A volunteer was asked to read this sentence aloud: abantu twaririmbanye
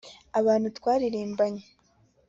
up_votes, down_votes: 2, 0